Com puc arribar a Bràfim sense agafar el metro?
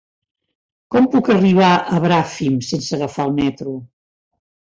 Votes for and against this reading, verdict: 2, 0, accepted